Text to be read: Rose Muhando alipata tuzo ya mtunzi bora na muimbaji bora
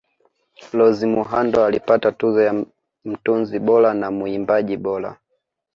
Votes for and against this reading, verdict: 1, 2, rejected